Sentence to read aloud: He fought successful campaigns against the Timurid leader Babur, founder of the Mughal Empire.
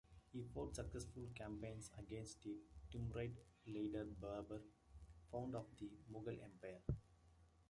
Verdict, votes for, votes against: rejected, 1, 2